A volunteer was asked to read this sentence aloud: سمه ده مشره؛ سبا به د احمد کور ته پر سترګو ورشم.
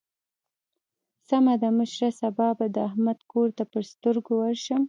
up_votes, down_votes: 2, 0